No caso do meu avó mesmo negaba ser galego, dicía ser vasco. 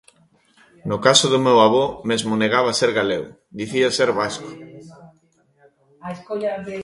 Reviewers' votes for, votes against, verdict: 0, 2, rejected